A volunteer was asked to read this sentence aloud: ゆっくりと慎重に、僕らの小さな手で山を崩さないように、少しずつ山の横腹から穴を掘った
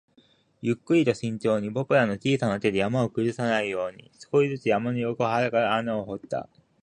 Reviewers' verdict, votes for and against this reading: rejected, 0, 2